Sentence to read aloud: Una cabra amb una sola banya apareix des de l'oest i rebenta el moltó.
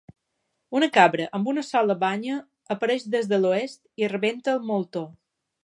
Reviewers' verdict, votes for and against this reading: accepted, 4, 0